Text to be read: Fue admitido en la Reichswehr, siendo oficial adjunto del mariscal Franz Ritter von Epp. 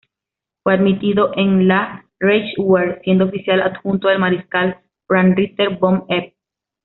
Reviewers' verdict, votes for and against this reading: rejected, 1, 2